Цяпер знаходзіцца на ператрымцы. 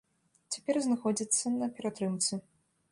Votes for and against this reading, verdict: 2, 0, accepted